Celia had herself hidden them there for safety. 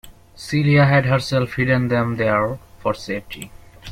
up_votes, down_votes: 2, 0